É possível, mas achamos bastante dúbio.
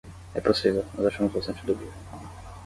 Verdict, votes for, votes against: rejected, 0, 10